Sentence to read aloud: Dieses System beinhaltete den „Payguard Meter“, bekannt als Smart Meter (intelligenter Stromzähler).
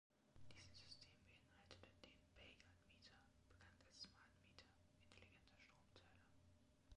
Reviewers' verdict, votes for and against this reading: rejected, 1, 2